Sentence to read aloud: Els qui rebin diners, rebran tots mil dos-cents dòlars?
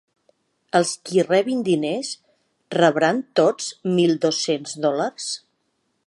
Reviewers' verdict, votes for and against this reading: accepted, 2, 0